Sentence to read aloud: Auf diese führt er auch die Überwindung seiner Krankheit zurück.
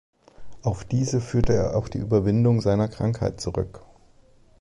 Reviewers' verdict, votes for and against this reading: rejected, 3, 4